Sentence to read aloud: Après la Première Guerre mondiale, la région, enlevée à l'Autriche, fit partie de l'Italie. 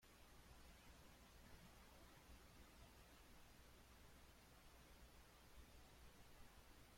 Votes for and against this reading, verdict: 0, 2, rejected